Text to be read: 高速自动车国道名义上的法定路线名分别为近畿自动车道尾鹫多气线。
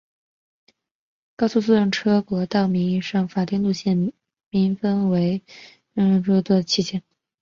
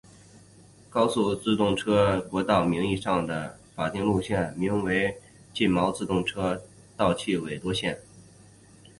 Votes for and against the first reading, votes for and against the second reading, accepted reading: 1, 3, 5, 2, second